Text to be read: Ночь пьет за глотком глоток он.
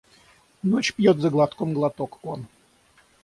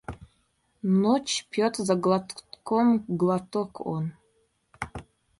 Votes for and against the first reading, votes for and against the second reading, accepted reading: 6, 0, 0, 2, first